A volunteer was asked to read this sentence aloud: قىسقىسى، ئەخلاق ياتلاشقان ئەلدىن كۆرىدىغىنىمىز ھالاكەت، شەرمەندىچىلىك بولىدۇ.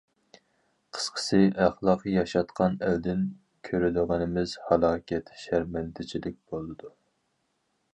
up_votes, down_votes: 0, 4